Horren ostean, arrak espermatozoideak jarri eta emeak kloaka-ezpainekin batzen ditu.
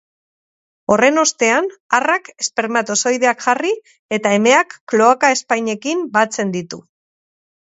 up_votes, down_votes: 2, 0